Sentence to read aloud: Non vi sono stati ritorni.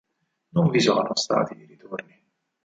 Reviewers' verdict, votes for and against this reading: rejected, 2, 4